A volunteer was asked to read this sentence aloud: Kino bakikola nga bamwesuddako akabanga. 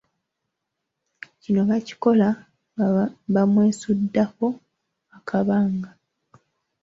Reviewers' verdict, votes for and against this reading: rejected, 0, 3